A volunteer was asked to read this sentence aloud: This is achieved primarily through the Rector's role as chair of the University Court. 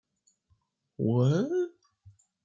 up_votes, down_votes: 0, 2